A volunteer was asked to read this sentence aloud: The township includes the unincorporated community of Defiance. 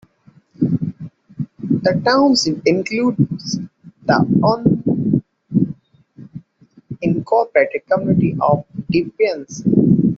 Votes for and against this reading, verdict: 1, 2, rejected